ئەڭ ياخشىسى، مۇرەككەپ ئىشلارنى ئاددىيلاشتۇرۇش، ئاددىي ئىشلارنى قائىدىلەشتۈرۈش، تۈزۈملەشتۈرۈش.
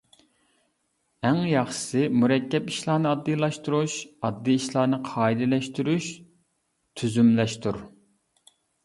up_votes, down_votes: 0, 2